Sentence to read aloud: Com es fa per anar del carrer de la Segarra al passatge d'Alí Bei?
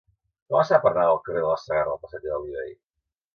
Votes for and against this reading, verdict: 0, 3, rejected